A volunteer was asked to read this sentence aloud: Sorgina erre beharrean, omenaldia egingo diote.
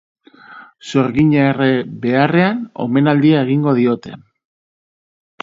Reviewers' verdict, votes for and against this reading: accepted, 2, 0